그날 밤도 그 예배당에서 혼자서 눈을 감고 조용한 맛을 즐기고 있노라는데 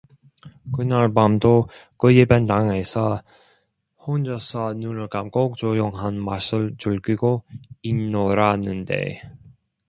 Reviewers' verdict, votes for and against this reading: accepted, 2, 1